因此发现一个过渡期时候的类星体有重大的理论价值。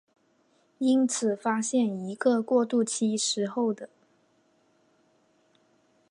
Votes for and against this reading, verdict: 0, 2, rejected